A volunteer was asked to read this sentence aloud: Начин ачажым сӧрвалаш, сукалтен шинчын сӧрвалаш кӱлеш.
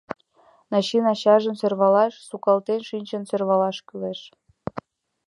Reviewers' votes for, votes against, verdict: 2, 0, accepted